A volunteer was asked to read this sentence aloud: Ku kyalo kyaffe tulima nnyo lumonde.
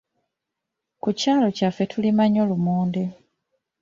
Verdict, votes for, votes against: accepted, 2, 0